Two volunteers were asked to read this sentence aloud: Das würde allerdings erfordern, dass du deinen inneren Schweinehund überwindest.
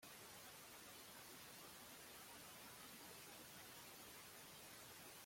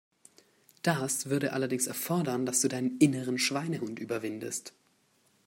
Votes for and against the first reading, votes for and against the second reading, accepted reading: 0, 2, 2, 0, second